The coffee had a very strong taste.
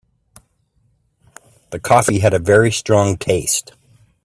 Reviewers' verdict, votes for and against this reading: accepted, 3, 0